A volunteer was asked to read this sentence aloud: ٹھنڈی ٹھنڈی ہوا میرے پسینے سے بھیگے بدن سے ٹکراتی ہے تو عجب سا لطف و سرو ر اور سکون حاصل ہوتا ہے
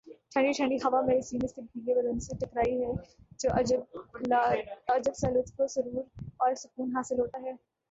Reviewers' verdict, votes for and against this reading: rejected, 1, 2